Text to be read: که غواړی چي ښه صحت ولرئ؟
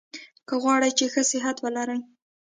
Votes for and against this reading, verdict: 2, 0, accepted